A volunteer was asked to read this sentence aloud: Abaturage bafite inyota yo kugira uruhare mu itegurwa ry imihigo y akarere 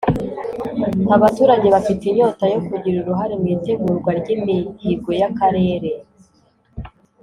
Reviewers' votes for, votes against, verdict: 2, 0, accepted